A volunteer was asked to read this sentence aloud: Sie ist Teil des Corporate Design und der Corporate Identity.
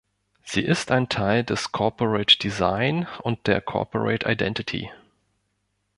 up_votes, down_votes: 0, 3